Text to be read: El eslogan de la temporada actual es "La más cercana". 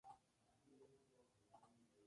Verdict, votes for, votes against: rejected, 0, 2